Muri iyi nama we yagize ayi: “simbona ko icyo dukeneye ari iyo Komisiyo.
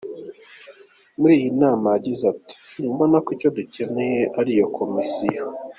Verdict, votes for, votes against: accepted, 3, 2